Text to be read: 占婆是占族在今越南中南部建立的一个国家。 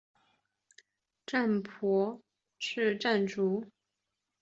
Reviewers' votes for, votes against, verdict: 0, 2, rejected